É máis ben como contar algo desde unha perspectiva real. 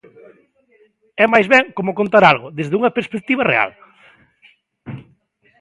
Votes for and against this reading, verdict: 2, 0, accepted